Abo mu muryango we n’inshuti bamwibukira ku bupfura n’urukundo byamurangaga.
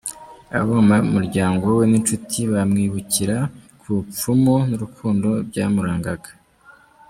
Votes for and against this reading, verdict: 0, 2, rejected